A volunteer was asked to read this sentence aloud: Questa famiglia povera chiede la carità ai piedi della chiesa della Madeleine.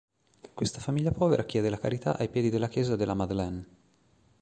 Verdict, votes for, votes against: accepted, 3, 0